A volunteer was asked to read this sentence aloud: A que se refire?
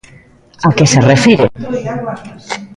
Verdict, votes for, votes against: accepted, 2, 1